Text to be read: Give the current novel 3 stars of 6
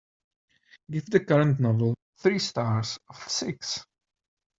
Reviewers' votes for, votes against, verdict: 0, 2, rejected